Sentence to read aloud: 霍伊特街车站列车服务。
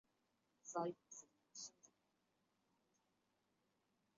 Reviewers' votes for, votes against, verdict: 0, 3, rejected